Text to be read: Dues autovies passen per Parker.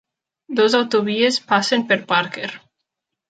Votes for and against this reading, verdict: 1, 2, rejected